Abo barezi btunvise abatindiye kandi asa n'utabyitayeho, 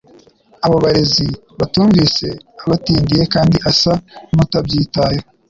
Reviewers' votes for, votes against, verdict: 2, 0, accepted